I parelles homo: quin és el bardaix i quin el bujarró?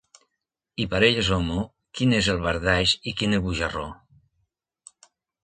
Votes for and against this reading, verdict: 2, 0, accepted